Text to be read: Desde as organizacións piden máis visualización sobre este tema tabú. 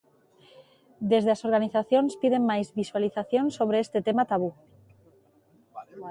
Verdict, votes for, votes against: rejected, 1, 2